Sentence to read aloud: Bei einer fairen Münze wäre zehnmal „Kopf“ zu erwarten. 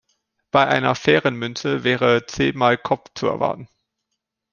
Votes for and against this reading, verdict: 2, 0, accepted